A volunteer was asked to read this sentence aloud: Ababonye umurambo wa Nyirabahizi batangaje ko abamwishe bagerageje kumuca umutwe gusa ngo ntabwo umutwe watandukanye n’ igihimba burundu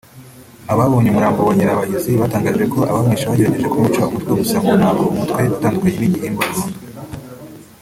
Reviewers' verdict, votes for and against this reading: rejected, 1, 2